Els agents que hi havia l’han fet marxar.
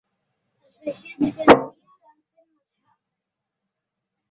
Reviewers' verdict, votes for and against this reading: rejected, 0, 2